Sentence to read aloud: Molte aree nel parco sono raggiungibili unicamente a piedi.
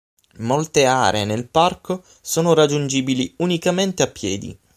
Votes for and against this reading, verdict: 6, 0, accepted